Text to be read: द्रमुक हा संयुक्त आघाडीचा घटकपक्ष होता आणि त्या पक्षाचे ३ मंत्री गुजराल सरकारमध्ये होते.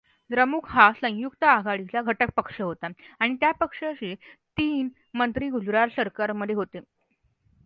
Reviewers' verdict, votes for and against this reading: rejected, 0, 2